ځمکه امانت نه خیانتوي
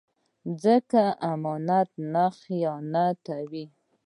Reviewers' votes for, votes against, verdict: 2, 0, accepted